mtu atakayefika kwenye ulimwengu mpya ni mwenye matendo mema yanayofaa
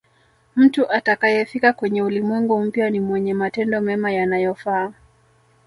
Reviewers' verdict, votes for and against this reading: accepted, 2, 1